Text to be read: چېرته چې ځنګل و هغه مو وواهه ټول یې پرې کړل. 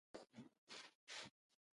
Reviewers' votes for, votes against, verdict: 0, 2, rejected